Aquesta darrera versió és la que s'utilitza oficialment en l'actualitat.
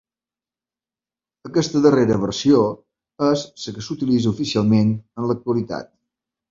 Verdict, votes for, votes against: accepted, 3, 2